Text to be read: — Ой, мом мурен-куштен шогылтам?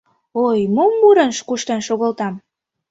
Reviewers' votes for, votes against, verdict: 1, 2, rejected